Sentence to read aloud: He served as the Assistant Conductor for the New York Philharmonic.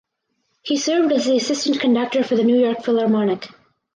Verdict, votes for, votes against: accepted, 4, 0